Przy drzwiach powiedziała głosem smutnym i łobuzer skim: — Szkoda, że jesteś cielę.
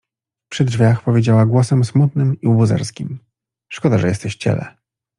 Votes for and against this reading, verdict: 2, 0, accepted